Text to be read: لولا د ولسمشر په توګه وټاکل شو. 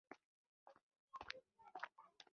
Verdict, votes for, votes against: rejected, 1, 2